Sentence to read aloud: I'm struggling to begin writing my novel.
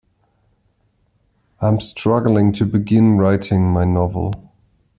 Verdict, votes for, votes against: accepted, 2, 0